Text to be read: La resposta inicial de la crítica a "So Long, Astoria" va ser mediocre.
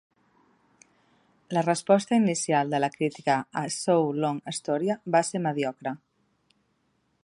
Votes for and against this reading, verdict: 2, 0, accepted